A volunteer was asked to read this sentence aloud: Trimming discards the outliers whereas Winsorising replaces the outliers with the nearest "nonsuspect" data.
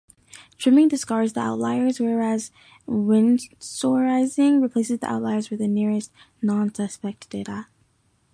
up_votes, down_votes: 2, 0